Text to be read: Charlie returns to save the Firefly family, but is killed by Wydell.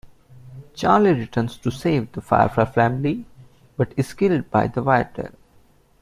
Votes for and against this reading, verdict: 0, 2, rejected